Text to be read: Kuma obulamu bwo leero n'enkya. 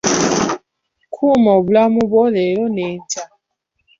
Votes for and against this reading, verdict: 2, 1, accepted